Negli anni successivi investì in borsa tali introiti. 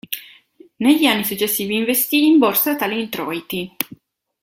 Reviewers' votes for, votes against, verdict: 2, 0, accepted